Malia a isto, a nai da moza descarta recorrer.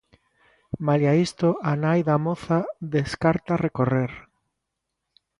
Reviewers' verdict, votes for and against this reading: accepted, 2, 0